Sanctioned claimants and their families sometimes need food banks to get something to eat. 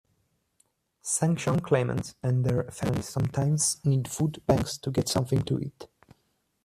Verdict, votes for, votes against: rejected, 0, 2